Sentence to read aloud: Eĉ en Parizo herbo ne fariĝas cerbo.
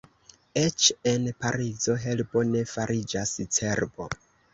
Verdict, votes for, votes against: accepted, 2, 0